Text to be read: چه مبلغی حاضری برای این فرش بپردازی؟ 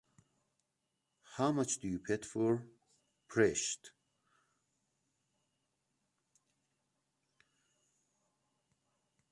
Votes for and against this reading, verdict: 0, 2, rejected